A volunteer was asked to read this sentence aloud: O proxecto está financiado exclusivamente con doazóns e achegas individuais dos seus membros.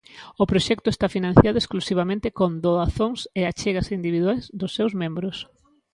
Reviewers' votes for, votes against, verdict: 2, 0, accepted